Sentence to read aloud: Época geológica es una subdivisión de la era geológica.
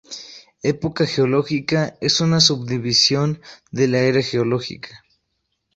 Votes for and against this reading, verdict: 4, 0, accepted